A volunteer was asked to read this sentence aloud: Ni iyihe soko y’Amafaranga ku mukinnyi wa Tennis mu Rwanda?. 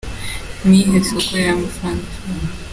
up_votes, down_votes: 0, 2